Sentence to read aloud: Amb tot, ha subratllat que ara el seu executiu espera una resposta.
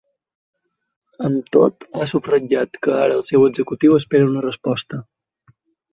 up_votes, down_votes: 3, 0